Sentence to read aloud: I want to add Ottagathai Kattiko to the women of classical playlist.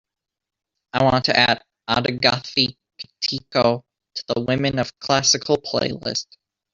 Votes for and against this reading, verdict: 1, 2, rejected